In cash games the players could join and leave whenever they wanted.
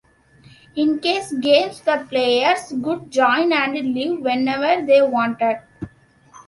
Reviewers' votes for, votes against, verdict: 2, 1, accepted